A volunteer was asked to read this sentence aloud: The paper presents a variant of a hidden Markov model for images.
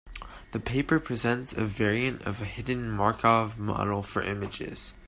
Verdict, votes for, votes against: accepted, 2, 0